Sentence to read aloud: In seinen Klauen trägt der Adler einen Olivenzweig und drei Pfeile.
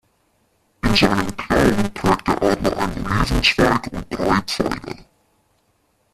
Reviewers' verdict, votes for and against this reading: rejected, 0, 2